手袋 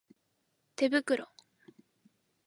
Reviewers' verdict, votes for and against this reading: accepted, 2, 0